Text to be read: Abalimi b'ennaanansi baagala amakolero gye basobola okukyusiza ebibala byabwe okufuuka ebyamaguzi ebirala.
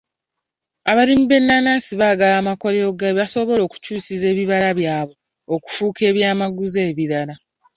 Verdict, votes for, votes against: rejected, 1, 3